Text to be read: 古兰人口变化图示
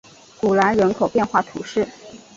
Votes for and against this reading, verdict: 4, 0, accepted